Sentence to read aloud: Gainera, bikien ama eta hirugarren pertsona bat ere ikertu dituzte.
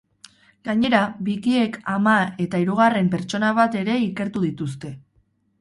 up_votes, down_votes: 2, 2